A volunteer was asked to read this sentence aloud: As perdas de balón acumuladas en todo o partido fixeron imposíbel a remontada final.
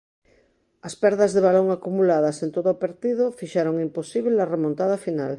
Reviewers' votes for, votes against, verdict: 2, 1, accepted